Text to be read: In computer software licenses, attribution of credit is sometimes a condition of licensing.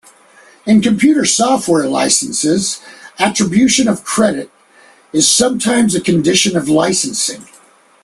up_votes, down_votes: 2, 0